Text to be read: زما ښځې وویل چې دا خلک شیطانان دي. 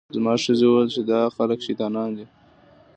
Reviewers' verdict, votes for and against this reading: accepted, 2, 0